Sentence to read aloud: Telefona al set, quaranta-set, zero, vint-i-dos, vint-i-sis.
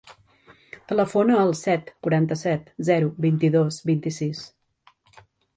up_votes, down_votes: 3, 0